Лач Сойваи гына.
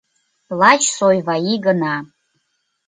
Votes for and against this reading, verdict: 2, 0, accepted